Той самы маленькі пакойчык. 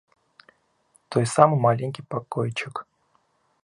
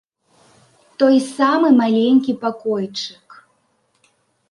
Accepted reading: second